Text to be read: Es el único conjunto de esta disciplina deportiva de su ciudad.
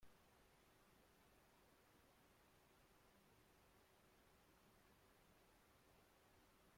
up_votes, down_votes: 0, 2